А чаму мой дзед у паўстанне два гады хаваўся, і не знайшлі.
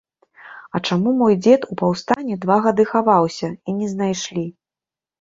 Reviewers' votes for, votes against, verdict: 2, 0, accepted